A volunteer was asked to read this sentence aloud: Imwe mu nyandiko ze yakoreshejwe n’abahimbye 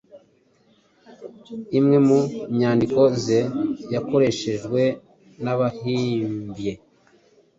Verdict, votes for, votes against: accepted, 2, 0